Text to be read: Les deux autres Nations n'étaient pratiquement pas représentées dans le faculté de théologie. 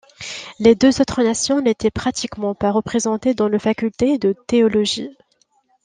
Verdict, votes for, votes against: accepted, 2, 0